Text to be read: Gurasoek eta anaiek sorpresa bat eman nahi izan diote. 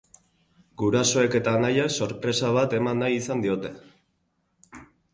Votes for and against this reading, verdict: 2, 2, rejected